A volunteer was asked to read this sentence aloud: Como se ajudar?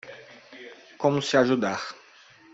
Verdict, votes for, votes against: rejected, 1, 2